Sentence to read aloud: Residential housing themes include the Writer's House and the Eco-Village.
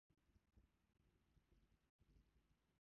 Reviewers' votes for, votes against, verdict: 0, 4, rejected